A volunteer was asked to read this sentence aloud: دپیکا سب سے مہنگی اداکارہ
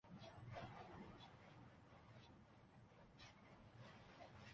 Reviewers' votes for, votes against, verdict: 0, 3, rejected